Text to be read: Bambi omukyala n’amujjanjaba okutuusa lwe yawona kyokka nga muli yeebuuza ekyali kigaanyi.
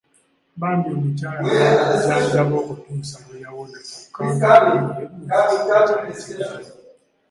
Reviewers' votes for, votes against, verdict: 1, 2, rejected